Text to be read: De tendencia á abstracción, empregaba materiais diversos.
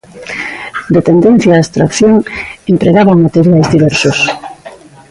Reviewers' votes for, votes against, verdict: 1, 2, rejected